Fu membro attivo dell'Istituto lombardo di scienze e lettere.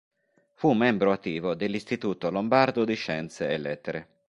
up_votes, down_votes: 2, 0